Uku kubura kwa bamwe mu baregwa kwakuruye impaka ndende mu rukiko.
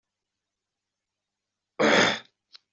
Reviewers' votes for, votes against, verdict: 1, 2, rejected